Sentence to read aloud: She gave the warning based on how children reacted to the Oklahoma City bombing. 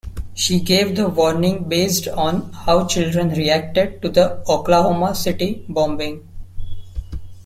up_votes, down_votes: 2, 0